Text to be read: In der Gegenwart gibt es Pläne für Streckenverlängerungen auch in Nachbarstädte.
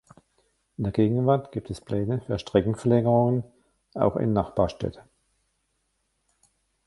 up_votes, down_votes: 1, 2